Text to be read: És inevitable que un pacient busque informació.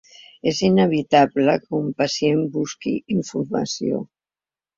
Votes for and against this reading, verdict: 2, 1, accepted